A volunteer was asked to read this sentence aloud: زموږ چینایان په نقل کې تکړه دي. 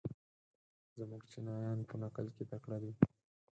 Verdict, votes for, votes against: rejected, 0, 4